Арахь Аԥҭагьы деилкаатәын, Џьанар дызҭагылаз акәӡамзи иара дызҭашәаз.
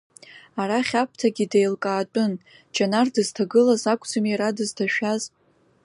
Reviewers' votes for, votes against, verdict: 2, 0, accepted